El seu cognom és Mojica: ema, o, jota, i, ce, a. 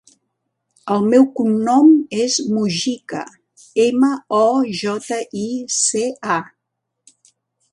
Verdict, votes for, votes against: rejected, 1, 2